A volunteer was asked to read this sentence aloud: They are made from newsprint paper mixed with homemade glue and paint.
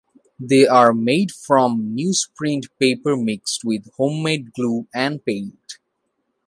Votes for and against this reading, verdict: 2, 0, accepted